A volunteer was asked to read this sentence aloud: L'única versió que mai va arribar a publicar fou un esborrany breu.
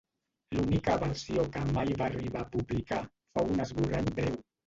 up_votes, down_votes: 0, 2